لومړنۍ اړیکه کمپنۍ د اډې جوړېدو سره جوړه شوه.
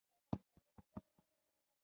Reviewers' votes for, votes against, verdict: 1, 3, rejected